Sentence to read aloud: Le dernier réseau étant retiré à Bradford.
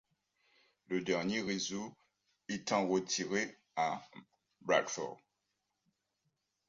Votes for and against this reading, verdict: 2, 0, accepted